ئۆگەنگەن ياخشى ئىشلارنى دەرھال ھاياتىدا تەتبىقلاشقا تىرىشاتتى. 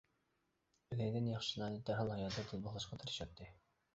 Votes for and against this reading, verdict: 0, 2, rejected